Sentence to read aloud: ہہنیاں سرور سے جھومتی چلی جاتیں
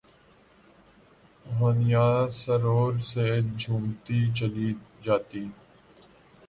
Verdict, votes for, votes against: rejected, 5, 7